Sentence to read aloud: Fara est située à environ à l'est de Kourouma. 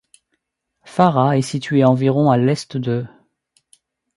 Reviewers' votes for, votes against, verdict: 1, 2, rejected